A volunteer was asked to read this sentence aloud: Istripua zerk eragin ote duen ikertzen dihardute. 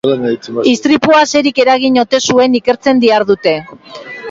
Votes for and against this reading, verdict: 0, 2, rejected